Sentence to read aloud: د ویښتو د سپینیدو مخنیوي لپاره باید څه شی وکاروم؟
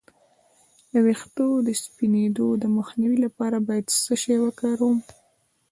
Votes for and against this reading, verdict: 1, 2, rejected